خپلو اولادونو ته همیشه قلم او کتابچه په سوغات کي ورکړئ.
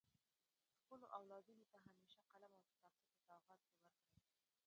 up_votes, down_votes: 1, 2